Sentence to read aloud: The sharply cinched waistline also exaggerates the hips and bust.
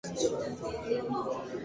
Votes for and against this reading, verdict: 0, 2, rejected